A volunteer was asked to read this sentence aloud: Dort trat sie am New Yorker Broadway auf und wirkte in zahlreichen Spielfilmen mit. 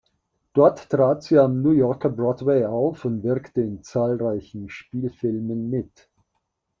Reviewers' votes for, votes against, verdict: 2, 0, accepted